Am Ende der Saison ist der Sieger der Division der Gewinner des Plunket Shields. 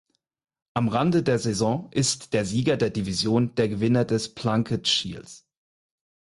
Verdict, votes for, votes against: rejected, 2, 4